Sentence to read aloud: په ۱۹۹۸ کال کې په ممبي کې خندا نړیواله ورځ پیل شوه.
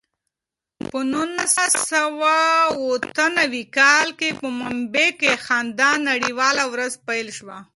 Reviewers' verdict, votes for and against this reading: rejected, 0, 2